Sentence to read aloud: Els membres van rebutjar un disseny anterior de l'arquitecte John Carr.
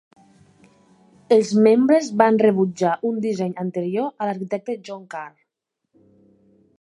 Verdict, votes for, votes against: accepted, 2, 1